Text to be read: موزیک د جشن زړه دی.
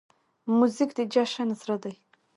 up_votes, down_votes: 2, 1